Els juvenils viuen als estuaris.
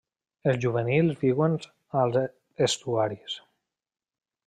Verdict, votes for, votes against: rejected, 1, 2